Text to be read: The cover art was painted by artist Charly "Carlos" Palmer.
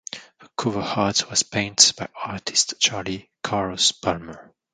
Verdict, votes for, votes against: rejected, 0, 2